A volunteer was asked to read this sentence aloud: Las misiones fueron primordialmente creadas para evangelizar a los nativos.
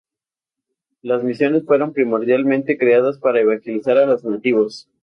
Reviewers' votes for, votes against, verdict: 4, 0, accepted